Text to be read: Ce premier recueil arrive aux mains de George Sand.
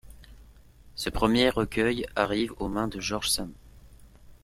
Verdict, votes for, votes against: rejected, 0, 2